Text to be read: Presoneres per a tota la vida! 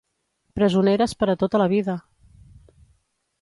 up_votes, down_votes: 2, 0